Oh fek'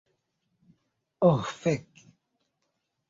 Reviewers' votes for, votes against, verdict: 2, 0, accepted